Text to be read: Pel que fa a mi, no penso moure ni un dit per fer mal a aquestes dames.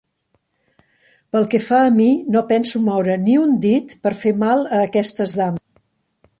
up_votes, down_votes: 1, 2